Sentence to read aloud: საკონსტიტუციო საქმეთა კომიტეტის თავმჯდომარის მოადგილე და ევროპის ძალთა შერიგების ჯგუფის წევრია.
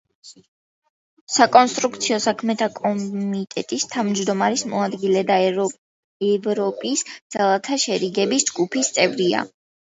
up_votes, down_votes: 0, 3